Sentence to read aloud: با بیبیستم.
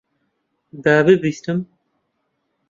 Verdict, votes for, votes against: rejected, 0, 2